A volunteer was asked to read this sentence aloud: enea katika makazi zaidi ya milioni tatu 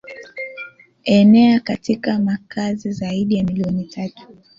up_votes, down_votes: 2, 1